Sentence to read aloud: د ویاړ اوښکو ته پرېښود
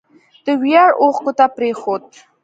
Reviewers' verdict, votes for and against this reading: accepted, 2, 0